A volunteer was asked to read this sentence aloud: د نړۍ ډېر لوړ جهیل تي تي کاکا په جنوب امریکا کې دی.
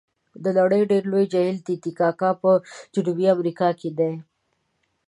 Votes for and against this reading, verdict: 1, 2, rejected